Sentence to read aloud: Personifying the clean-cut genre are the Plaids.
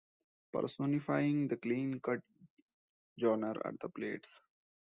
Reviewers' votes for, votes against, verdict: 1, 2, rejected